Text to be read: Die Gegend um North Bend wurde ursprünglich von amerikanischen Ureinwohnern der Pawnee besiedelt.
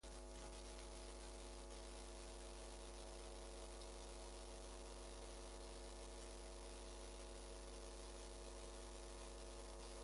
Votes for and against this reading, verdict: 0, 2, rejected